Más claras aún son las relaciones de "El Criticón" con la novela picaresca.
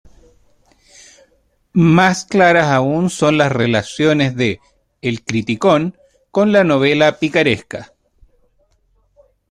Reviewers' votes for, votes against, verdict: 1, 2, rejected